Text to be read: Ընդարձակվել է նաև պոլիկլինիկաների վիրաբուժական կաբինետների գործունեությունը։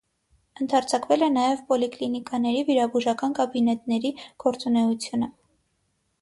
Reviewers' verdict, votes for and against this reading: accepted, 6, 0